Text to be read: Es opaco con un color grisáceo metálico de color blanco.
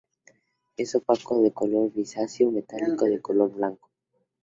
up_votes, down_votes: 2, 2